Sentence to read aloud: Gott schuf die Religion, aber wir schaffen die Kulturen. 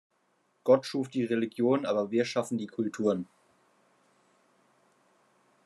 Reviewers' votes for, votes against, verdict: 2, 0, accepted